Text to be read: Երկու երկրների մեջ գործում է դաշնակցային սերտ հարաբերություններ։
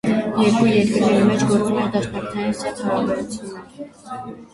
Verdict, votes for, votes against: rejected, 0, 2